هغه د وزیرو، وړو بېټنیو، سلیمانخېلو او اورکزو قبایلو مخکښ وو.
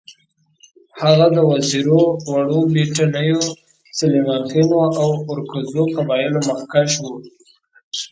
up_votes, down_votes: 2, 0